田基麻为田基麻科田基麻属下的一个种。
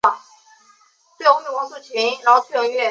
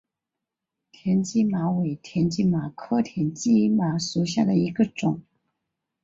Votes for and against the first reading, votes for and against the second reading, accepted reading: 0, 2, 3, 0, second